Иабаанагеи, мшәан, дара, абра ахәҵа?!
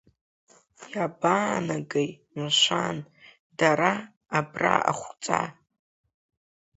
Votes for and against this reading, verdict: 2, 0, accepted